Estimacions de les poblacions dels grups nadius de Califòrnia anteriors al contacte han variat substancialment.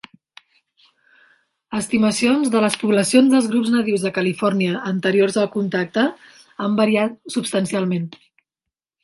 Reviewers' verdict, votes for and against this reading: accepted, 3, 0